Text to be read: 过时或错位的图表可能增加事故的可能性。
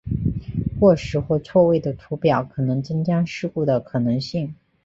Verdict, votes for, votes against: accepted, 3, 0